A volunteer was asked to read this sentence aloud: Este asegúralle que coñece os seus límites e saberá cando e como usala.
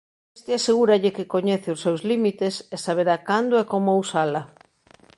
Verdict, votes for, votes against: rejected, 0, 2